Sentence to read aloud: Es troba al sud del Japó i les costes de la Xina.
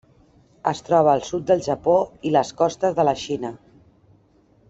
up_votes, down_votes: 3, 0